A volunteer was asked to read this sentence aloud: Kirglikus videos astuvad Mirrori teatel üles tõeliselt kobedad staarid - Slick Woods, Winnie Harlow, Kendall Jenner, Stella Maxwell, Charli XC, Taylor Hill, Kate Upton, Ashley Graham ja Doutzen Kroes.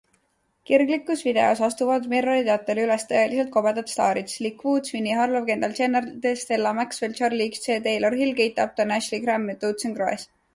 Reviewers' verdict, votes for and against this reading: accepted, 2, 0